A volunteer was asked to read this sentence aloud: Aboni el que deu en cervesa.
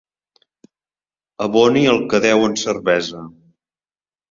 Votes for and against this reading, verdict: 4, 0, accepted